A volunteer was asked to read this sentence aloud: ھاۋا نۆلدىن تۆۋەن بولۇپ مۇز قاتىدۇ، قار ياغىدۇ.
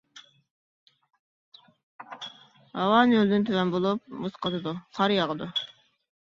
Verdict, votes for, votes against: rejected, 0, 2